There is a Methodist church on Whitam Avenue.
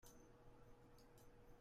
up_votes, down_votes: 0, 2